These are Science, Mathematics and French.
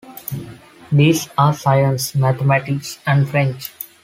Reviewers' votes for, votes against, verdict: 2, 0, accepted